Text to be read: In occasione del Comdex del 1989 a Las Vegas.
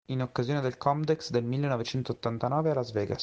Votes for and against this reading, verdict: 0, 2, rejected